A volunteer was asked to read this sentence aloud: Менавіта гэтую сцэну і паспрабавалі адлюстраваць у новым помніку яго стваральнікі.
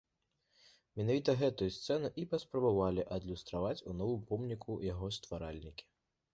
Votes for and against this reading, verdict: 2, 0, accepted